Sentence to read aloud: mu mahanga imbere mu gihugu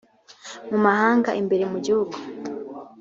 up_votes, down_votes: 2, 0